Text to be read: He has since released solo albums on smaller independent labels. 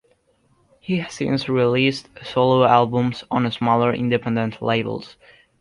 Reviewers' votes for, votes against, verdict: 1, 2, rejected